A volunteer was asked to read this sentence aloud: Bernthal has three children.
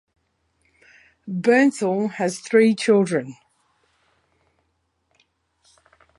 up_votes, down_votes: 2, 0